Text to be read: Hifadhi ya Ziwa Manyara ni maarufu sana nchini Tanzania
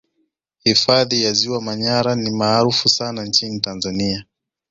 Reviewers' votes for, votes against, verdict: 2, 0, accepted